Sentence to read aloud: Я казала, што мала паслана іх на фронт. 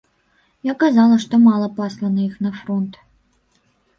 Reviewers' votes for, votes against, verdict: 1, 2, rejected